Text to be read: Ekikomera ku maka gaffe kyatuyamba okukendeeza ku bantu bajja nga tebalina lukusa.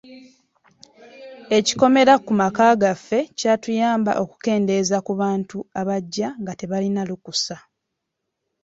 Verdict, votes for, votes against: rejected, 1, 2